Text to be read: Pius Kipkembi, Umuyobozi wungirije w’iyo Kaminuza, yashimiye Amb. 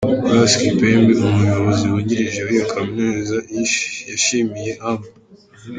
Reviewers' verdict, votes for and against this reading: rejected, 0, 3